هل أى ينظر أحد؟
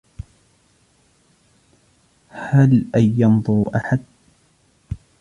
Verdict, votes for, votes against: rejected, 1, 2